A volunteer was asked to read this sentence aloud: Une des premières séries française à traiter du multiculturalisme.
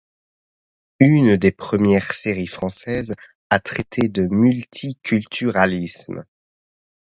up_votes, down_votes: 0, 2